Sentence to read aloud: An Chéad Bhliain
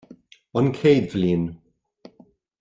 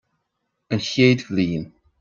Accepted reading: second